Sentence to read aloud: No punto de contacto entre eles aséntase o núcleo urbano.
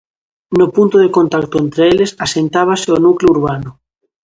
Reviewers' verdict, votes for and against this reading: rejected, 0, 2